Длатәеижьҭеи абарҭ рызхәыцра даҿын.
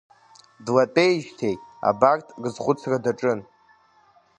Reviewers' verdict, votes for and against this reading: accepted, 2, 0